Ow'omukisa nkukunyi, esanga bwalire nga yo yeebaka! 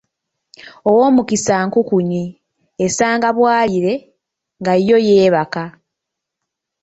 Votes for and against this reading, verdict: 2, 0, accepted